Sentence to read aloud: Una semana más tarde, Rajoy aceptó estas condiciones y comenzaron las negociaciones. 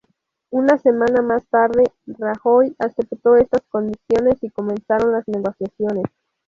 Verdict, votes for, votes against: accepted, 2, 0